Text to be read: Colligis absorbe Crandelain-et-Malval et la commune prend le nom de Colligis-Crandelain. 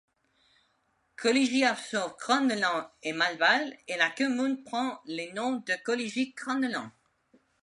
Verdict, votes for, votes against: accepted, 2, 1